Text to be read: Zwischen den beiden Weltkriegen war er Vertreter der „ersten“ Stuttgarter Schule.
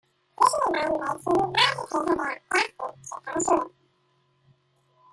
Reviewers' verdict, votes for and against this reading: rejected, 0, 2